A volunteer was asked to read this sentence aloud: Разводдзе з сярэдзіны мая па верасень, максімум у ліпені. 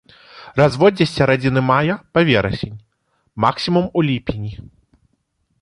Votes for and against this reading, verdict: 2, 0, accepted